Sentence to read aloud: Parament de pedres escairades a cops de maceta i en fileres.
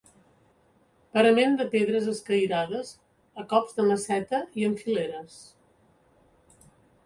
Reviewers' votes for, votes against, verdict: 2, 0, accepted